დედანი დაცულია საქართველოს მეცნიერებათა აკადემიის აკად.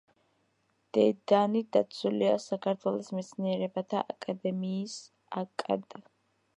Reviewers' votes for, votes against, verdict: 1, 2, rejected